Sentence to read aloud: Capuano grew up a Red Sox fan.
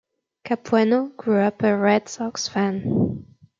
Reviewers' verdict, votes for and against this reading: accepted, 2, 0